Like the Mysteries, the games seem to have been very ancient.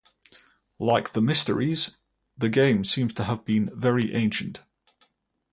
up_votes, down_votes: 2, 0